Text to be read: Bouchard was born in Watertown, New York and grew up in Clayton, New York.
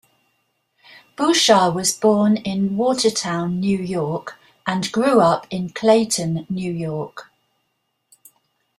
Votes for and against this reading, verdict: 2, 0, accepted